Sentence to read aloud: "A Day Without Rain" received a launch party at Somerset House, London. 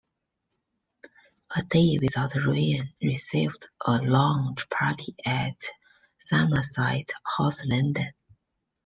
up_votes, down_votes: 0, 2